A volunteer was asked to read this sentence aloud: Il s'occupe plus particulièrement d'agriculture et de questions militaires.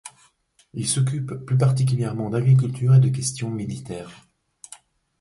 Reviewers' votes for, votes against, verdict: 2, 0, accepted